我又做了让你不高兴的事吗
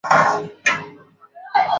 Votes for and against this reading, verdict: 0, 2, rejected